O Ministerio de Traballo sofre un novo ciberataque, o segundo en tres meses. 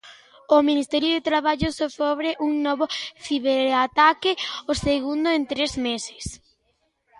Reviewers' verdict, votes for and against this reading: rejected, 0, 2